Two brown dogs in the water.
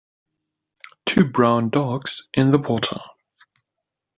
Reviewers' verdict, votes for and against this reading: accepted, 2, 1